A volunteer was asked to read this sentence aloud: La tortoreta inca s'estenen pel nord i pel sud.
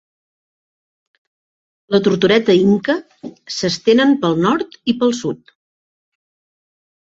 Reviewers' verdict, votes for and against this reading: accepted, 2, 0